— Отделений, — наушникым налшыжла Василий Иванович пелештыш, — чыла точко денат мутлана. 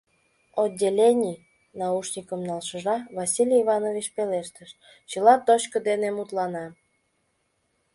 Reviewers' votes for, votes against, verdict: 0, 2, rejected